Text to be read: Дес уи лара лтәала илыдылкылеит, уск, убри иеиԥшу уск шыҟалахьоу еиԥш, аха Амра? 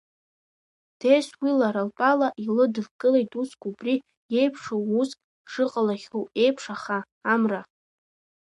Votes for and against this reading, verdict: 0, 2, rejected